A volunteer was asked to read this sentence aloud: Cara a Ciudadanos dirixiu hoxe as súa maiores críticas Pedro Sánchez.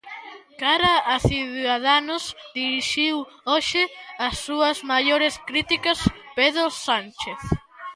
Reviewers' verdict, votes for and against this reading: rejected, 0, 2